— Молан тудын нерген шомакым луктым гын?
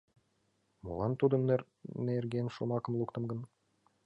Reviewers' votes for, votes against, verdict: 2, 1, accepted